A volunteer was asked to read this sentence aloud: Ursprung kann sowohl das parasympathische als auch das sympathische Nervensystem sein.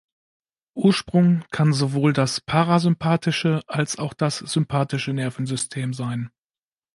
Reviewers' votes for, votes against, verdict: 2, 0, accepted